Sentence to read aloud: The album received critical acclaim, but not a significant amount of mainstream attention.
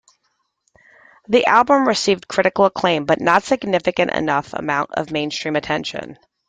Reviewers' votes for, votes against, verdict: 1, 2, rejected